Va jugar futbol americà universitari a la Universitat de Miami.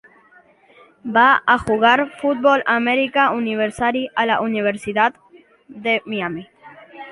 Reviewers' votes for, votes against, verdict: 0, 2, rejected